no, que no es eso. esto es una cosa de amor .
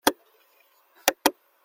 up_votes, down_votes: 0, 2